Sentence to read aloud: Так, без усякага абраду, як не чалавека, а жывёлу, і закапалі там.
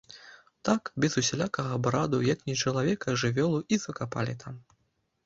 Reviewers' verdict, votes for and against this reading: rejected, 1, 2